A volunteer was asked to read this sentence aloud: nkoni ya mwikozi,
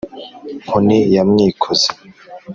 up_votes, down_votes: 3, 0